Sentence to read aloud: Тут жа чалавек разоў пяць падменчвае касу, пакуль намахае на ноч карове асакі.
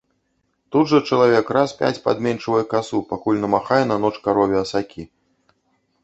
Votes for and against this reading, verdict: 0, 2, rejected